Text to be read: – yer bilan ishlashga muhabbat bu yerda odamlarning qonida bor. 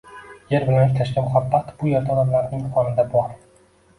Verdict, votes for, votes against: rejected, 0, 2